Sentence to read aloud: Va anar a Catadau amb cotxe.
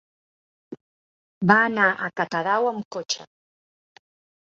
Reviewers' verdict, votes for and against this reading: accepted, 3, 0